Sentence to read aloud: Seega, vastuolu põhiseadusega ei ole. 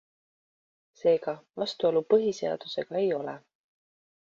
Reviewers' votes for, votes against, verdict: 2, 1, accepted